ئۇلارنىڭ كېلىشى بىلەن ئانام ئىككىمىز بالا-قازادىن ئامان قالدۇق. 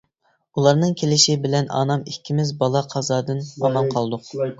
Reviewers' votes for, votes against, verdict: 1, 2, rejected